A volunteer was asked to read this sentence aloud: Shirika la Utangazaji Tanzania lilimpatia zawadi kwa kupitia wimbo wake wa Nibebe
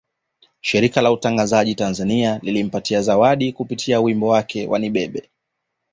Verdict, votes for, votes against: accepted, 2, 0